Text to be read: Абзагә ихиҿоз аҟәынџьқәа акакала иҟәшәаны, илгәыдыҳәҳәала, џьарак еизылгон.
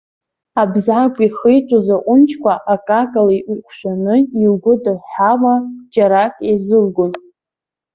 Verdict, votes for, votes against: accepted, 2, 0